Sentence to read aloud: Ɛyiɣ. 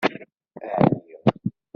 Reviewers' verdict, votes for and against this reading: rejected, 1, 2